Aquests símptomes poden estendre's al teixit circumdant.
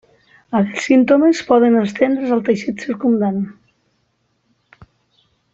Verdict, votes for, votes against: rejected, 0, 2